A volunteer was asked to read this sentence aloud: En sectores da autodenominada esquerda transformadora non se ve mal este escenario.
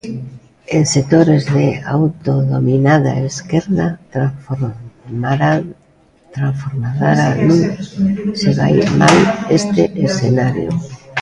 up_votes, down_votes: 0, 2